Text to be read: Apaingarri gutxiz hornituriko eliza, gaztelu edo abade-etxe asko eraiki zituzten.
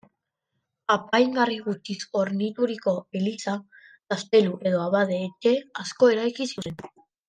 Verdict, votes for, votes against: rejected, 1, 2